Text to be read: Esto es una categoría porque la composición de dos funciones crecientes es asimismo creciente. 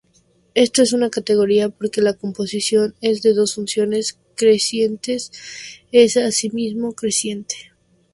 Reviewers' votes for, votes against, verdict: 0, 2, rejected